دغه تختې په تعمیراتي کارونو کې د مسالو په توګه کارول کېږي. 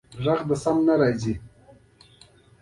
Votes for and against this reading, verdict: 1, 2, rejected